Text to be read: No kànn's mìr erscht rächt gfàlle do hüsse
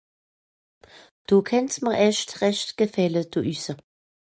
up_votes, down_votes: 2, 0